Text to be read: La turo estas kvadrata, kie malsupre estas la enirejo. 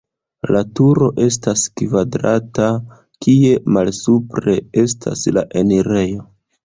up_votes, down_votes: 1, 2